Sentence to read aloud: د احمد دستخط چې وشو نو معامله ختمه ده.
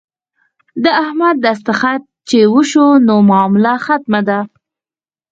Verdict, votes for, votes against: rejected, 2, 4